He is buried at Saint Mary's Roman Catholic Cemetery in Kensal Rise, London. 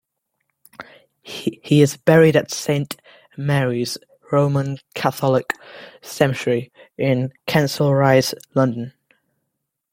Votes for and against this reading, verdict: 0, 2, rejected